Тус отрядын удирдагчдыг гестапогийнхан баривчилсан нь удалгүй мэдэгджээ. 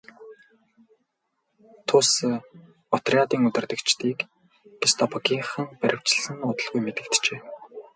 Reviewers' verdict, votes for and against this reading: rejected, 0, 2